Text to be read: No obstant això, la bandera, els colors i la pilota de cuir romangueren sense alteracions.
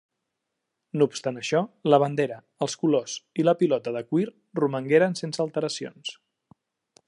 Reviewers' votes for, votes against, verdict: 3, 0, accepted